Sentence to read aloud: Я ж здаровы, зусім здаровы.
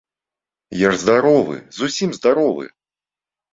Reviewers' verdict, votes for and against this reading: accepted, 2, 0